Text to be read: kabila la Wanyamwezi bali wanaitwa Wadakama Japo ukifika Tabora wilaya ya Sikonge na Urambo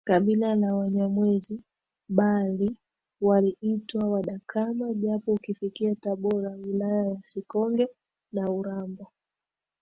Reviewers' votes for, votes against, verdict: 2, 0, accepted